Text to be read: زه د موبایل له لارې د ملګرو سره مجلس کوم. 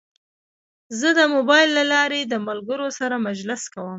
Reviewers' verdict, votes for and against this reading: accepted, 2, 1